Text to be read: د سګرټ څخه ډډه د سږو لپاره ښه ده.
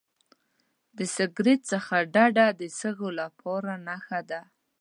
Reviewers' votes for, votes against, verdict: 1, 2, rejected